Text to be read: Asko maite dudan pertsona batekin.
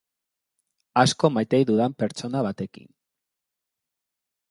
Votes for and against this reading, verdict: 2, 0, accepted